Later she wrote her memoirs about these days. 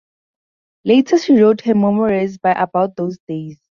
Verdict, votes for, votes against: rejected, 0, 4